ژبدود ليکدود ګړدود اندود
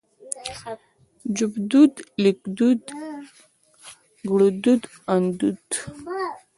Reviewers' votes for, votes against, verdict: 2, 1, accepted